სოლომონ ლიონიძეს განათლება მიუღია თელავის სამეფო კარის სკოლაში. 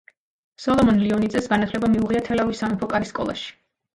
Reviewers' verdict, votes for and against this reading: rejected, 2, 3